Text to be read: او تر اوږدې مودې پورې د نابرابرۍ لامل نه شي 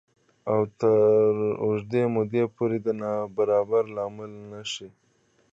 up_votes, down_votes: 2, 1